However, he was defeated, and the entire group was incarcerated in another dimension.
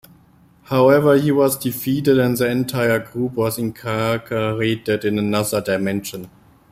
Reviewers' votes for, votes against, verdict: 0, 2, rejected